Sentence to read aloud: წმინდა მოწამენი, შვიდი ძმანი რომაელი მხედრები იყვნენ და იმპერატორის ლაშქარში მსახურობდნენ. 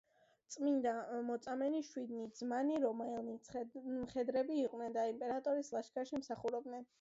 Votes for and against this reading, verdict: 0, 2, rejected